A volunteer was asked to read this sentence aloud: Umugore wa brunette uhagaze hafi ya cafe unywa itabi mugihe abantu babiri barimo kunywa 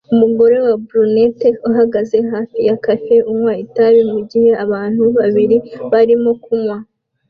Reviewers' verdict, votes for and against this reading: accepted, 2, 0